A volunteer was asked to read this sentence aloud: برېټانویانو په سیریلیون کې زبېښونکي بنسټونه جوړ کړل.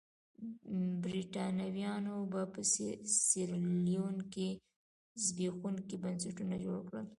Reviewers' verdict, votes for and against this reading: rejected, 1, 2